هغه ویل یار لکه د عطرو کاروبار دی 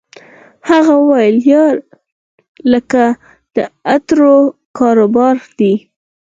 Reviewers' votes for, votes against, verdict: 4, 2, accepted